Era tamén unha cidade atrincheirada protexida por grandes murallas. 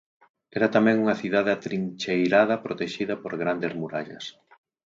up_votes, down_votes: 2, 4